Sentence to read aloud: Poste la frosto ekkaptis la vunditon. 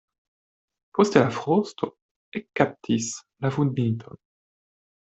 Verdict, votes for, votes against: rejected, 1, 2